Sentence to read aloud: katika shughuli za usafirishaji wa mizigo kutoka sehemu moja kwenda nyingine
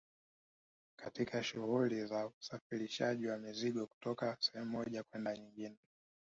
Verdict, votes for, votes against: accepted, 3, 1